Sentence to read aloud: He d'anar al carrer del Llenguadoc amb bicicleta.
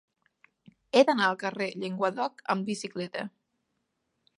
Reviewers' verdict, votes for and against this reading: rejected, 1, 2